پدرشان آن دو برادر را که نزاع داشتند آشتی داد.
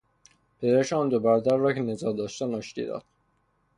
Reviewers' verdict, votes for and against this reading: rejected, 0, 3